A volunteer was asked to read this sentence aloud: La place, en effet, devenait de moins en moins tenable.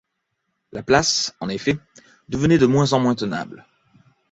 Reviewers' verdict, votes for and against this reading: accepted, 2, 0